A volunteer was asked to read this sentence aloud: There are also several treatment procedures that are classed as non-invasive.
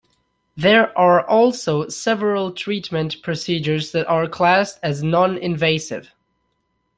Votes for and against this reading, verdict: 2, 0, accepted